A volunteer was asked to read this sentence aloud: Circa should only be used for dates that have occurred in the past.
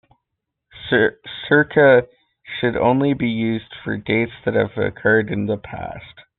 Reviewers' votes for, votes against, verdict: 1, 2, rejected